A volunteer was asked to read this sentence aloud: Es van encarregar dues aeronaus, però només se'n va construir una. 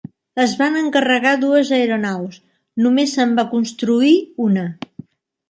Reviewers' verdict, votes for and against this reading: rejected, 1, 2